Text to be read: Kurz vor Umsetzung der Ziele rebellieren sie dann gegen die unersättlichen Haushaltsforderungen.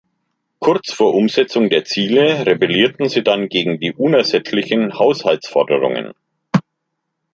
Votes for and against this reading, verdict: 1, 3, rejected